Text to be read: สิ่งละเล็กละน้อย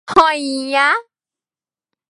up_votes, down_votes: 0, 2